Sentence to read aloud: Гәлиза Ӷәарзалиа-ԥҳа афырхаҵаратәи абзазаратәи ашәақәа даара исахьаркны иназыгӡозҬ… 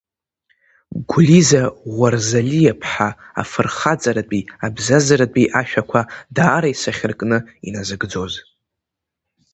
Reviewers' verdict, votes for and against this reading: accepted, 3, 0